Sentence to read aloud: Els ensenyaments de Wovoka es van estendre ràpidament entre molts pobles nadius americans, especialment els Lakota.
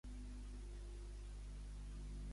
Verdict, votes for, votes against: rejected, 0, 3